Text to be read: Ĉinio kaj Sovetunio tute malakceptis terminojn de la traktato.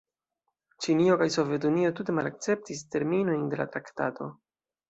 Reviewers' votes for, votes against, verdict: 2, 1, accepted